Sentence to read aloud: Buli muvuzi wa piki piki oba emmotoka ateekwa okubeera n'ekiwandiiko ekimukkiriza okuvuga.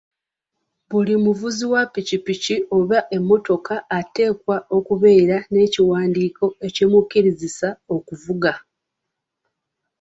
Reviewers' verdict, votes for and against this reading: accepted, 2, 1